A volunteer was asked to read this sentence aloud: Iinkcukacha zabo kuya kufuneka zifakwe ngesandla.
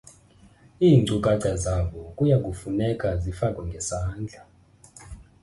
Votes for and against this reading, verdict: 1, 2, rejected